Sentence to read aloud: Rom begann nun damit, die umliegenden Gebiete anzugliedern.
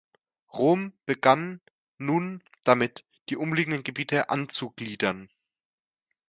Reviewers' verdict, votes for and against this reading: accepted, 2, 1